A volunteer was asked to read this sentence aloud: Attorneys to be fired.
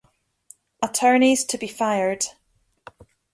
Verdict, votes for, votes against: accepted, 2, 0